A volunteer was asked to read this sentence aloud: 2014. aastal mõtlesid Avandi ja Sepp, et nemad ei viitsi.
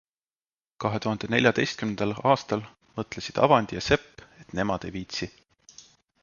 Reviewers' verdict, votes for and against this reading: rejected, 0, 2